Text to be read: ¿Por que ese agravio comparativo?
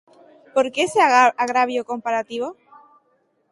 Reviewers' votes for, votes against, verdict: 0, 2, rejected